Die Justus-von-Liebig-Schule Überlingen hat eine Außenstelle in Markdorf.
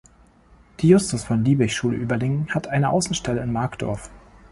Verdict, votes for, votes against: accepted, 2, 0